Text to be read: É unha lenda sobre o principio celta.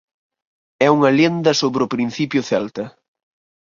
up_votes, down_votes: 0, 4